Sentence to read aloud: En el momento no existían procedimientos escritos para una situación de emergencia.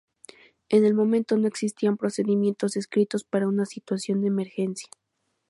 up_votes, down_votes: 4, 0